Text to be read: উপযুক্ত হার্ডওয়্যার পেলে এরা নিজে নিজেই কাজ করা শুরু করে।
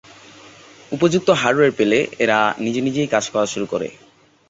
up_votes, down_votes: 2, 0